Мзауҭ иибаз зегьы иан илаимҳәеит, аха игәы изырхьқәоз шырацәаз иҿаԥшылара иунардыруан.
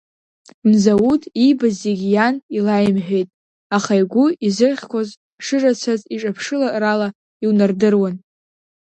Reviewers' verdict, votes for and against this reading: rejected, 0, 2